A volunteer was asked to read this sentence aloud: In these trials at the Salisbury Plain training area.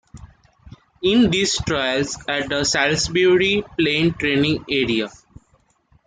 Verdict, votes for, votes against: accepted, 2, 0